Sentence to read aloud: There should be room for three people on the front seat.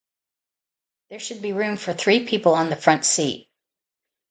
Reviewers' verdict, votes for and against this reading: accepted, 2, 0